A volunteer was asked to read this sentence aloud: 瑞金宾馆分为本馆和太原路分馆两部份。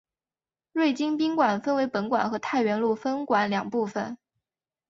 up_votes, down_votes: 2, 0